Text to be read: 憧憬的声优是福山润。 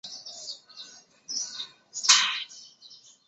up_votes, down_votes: 0, 2